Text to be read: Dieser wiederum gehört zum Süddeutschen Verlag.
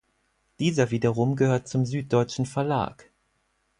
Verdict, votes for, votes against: accepted, 4, 0